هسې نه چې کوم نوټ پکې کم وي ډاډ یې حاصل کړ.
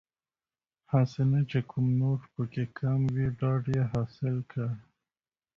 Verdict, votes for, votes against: accepted, 2, 0